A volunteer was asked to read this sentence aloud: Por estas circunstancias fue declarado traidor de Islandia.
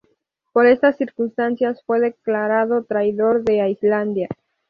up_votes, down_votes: 0, 2